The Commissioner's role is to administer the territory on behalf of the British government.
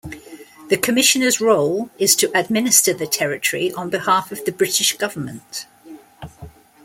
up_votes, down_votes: 2, 0